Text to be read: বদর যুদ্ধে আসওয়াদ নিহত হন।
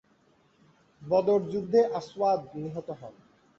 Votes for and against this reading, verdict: 2, 0, accepted